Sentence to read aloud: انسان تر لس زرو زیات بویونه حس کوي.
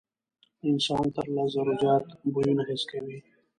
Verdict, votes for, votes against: rejected, 1, 2